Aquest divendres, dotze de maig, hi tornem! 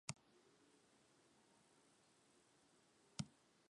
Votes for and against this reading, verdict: 0, 4, rejected